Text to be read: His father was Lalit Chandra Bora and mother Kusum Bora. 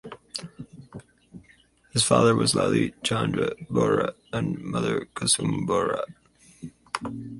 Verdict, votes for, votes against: accepted, 4, 0